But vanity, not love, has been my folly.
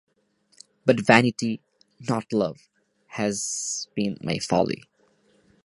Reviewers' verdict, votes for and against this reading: accepted, 2, 0